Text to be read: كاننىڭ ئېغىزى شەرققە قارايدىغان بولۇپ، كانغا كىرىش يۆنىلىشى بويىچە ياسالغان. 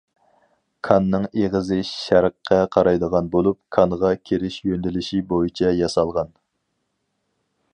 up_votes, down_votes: 4, 0